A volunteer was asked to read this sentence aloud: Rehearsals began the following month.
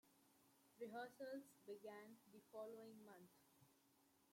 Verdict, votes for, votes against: rejected, 0, 2